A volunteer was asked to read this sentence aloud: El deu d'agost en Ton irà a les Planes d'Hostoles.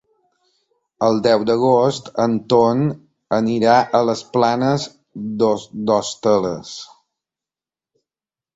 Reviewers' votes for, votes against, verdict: 0, 2, rejected